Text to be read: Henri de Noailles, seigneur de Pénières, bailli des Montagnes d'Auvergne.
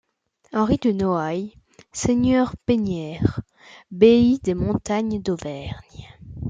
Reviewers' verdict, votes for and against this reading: rejected, 1, 2